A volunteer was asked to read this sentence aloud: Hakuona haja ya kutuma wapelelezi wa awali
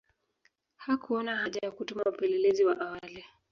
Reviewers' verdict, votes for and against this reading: accepted, 2, 1